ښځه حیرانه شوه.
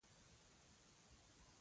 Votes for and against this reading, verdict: 0, 2, rejected